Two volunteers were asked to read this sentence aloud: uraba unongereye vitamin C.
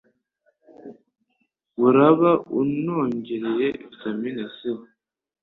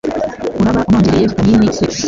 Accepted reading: first